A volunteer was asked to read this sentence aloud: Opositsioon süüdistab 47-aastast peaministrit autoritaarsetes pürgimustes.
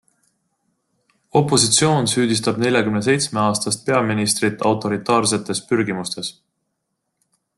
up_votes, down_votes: 0, 2